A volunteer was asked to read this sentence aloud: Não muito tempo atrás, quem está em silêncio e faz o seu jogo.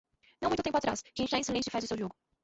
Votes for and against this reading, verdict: 0, 2, rejected